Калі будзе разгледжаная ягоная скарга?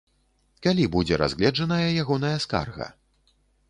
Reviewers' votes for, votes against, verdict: 2, 0, accepted